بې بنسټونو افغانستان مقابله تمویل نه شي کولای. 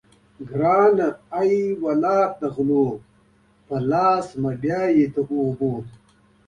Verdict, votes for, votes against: rejected, 1, 3